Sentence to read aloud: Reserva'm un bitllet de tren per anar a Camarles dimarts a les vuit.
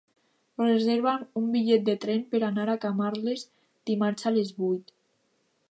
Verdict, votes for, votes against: accepted, 3, 0